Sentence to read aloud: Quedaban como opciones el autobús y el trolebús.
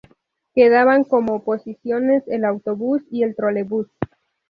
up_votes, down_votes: 2, 2